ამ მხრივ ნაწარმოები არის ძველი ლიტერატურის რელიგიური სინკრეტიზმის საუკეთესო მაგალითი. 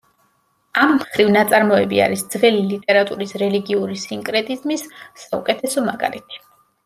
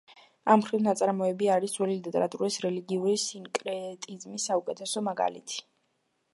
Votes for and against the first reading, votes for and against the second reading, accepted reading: 2, 0, 1, 2, first